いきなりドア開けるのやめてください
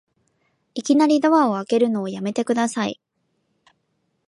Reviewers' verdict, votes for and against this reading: rejected, 1, 2